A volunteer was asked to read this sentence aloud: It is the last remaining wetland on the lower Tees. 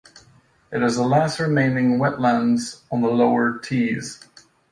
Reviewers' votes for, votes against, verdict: 2, 0, accepted